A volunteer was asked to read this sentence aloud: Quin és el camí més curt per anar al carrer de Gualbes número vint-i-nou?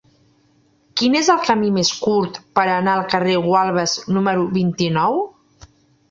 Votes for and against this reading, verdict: 1, 2, rejected